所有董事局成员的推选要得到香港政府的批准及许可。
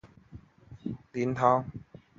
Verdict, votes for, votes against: rejected, 1, 3